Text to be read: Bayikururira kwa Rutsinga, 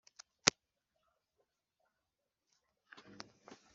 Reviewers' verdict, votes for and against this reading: rejected, 0, 2